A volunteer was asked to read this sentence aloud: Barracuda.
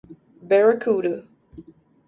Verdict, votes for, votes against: accepted, 2, 0